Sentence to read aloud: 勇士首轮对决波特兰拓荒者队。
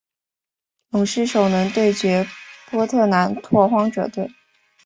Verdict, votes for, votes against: accepted, 2, 0